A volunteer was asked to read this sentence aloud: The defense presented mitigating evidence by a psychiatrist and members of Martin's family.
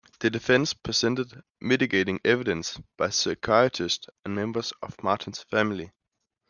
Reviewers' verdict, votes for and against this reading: rejected, 1, 2